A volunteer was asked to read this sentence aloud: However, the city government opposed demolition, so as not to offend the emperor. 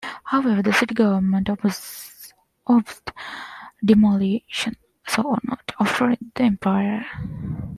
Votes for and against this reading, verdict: 0, 2, rejected